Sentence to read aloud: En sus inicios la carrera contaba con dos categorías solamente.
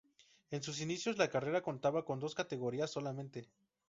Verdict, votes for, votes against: rejected, 2, 2